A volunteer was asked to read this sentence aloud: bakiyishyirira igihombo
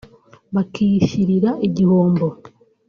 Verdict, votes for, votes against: rejected, 0, 2